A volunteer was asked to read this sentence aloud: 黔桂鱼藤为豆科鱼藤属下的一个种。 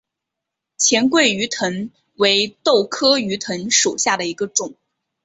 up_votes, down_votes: 2, 0